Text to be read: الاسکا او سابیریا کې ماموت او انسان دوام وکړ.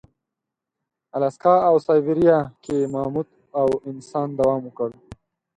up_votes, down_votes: 2, 4